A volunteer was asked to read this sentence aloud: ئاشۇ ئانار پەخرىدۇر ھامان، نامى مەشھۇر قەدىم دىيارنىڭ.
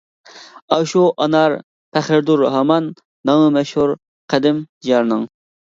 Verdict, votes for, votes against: rejected, 1, 2